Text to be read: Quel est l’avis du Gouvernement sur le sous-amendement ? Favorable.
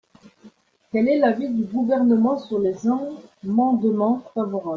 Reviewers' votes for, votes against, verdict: 0, 2, rejected